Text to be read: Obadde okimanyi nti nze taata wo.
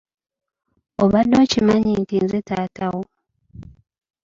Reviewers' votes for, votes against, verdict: 2, 0, accepted